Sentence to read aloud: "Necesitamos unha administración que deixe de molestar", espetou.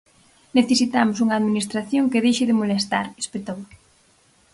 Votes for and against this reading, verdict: 4, 0, accepted